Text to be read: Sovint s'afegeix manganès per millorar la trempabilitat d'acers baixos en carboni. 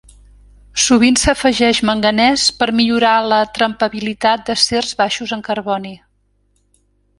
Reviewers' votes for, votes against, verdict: 2, 0, accepted